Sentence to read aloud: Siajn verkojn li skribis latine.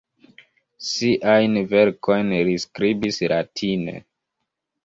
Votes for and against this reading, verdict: 1, 3, rejected